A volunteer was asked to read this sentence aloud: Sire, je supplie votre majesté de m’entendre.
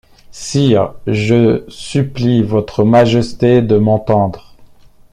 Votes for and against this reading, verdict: 2, 0, accepted